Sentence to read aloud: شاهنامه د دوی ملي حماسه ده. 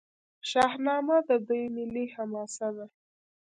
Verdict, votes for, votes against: rejected, 1, 2